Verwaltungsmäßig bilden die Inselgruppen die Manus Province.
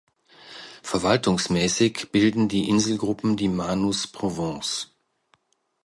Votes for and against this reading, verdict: 0, 2, rejected